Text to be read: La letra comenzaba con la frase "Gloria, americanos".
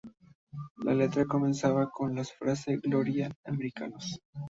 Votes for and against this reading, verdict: 0, 2, rejected